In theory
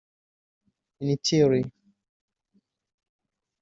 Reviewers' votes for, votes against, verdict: 1, 2, rejected